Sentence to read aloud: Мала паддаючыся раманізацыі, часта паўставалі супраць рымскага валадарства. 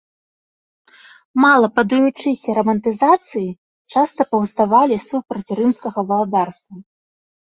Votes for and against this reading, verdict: 1, 2, rejected